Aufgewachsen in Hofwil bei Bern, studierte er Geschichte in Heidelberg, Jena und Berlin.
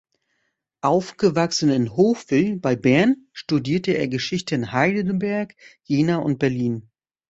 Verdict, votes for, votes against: rejected, 1, 2